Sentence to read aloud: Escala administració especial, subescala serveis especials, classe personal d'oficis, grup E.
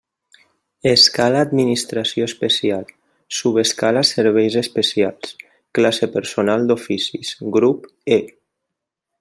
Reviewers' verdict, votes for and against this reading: accepted, 3, 0